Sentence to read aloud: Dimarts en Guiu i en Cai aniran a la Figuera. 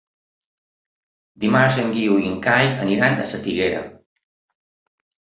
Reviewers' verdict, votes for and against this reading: rejected, 2, 3